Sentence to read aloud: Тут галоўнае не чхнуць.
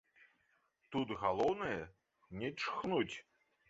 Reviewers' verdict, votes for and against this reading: rejected, 1, 2